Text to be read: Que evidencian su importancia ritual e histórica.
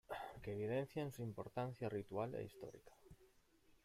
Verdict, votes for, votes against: rejected, 0, 2